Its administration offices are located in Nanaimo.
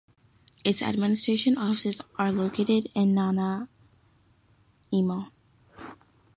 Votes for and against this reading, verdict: 1, 2, rejected